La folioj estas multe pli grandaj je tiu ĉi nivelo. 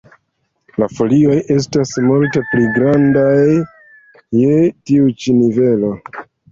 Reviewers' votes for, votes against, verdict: 2, 0, accepted